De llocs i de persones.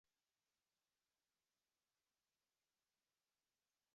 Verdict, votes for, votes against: rejected, 0, 3